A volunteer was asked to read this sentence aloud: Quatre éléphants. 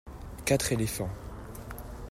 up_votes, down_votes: 2, 0